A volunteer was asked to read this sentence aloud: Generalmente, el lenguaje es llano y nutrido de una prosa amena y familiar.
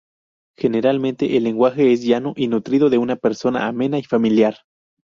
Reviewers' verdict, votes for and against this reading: rejected, 2, 2